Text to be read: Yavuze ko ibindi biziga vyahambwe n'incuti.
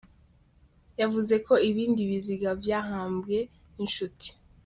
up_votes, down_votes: 0, 2